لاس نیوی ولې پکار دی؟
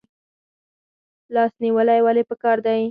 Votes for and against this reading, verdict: 6, 0, accepted